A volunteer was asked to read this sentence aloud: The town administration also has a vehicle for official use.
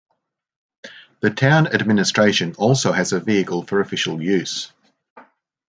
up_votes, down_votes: 2, 0